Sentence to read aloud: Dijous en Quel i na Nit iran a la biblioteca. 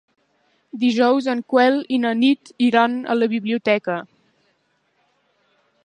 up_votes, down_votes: 1, 2